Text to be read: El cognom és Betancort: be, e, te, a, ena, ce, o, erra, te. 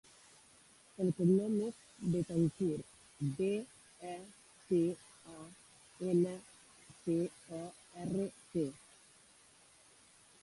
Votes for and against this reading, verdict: 0, 2, rejected